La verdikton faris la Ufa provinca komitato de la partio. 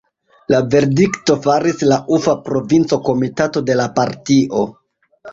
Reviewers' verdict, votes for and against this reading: rejected, 1, 2